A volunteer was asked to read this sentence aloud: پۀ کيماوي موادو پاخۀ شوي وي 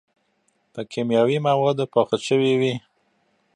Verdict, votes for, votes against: accepted, 2, 0